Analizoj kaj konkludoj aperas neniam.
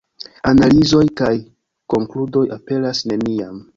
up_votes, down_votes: 2, 1